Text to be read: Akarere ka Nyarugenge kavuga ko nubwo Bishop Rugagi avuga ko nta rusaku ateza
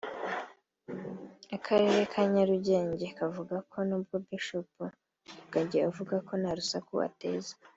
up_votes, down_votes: 2, 0